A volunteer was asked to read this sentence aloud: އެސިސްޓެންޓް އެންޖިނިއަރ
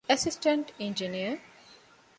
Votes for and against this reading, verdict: 2, 0, accepted